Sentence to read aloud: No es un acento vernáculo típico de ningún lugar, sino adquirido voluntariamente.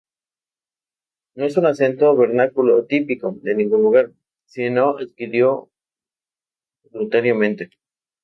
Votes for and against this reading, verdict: 0, 2, rejected